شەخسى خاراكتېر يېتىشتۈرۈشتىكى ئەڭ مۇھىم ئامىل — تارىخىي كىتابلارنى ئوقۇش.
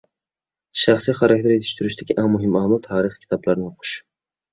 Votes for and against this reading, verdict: 2, 1, accepted